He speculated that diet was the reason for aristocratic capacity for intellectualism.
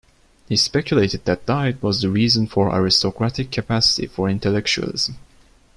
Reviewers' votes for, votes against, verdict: 2, 1, accepted